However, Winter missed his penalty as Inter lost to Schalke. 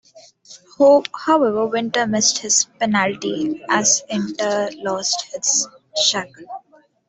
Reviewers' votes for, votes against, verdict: 0, 2, rejected